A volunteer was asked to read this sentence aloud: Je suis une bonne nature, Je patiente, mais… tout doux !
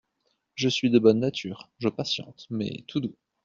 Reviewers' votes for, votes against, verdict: 1, 2, rejected